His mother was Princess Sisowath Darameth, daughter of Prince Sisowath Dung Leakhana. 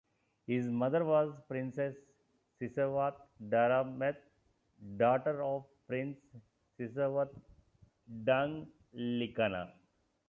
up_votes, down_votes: 0, 2